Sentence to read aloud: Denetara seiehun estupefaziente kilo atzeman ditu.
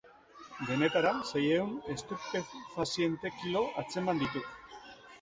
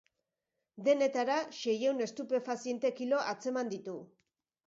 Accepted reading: second